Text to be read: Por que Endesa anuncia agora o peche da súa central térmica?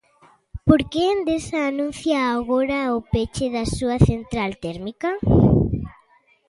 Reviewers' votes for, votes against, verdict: 2, 0, accepted